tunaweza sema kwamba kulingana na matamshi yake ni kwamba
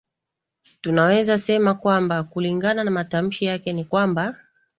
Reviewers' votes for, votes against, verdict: 2, 0, accepted